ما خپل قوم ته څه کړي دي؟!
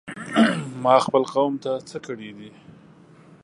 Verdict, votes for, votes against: rejected, 1, 2